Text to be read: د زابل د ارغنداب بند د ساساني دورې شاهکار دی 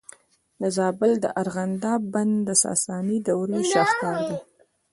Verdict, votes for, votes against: rejected, 0, 2